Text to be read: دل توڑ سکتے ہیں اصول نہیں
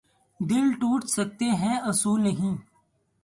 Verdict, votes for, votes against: accepted, 2, 0